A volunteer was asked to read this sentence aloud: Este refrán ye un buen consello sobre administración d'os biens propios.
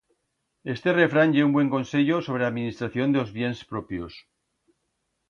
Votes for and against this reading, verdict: 1, 2, rejected